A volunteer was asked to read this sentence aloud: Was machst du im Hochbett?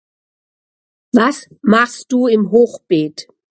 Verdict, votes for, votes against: rejected, 0, 2